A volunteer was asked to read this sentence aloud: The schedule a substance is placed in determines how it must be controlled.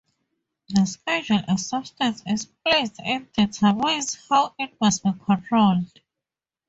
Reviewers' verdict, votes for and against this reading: rejected, 0, 2